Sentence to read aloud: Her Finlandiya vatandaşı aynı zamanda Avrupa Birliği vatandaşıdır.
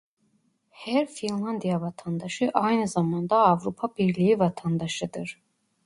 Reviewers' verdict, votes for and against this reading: accepted, 2, 0